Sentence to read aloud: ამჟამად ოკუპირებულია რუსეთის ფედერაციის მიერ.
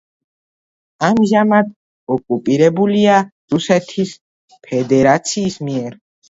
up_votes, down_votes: 1, 2